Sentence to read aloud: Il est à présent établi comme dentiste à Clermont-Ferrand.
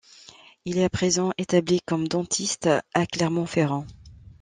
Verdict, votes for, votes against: accepted, 2, 0